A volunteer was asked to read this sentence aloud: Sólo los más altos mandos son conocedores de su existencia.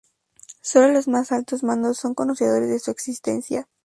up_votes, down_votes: 2, 0